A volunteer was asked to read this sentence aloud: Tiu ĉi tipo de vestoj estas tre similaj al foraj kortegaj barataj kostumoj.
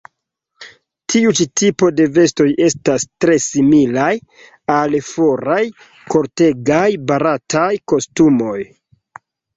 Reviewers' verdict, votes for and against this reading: accepted, 2, 0